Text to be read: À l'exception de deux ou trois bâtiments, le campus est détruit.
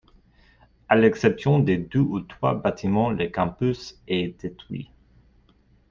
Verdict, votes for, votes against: accepted, 2, 0